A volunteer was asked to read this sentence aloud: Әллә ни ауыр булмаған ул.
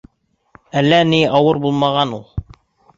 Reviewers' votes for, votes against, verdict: 2, 0, accepted